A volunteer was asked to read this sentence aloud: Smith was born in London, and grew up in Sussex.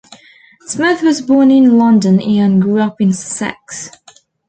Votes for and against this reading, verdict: 1, 2, rejected